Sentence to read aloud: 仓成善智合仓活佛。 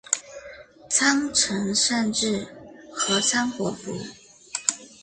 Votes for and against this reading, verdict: 2, 0, accepted